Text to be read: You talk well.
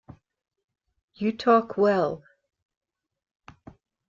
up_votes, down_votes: 2, 0